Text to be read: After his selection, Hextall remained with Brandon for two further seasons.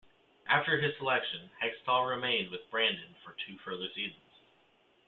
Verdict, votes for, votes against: accepted, 2, 0